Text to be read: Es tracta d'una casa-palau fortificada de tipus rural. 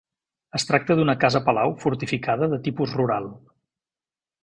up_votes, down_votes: 2, 0